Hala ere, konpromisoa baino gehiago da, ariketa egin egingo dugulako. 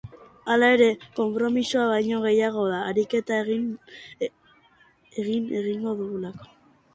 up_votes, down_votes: 0, 2